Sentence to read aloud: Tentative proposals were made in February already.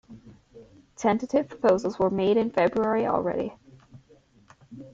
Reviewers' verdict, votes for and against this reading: accepted, 2, 0